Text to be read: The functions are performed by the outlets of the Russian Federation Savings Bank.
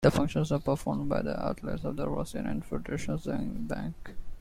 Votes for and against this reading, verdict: 1, 2, rejected